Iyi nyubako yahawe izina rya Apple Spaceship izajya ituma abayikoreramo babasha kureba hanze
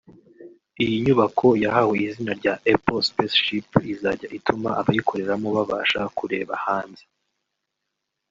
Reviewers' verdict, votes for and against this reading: accepted, 2, 0